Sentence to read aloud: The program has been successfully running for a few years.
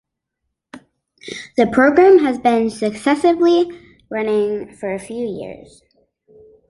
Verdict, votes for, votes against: rejected, 0, 2